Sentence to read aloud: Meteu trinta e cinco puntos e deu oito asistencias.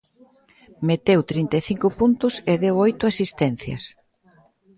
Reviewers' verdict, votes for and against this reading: accepted, 2, 0